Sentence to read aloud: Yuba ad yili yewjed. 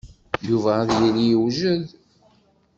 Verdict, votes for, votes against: accepted, 2, 0